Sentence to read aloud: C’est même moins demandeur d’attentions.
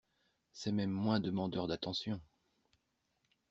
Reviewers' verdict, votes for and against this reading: accepted, 2, 0